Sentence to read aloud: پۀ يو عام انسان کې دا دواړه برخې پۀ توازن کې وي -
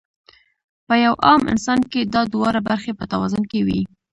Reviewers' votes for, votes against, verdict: 1, 2, rejected